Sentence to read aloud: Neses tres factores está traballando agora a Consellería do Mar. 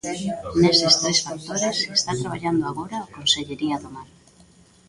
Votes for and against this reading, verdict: 2, 0, accepted